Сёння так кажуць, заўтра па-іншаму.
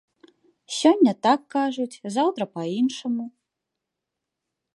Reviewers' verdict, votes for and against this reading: accepted, 2, 0